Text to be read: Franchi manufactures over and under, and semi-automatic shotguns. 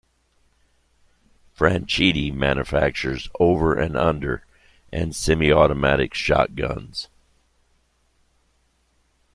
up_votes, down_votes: 1, 2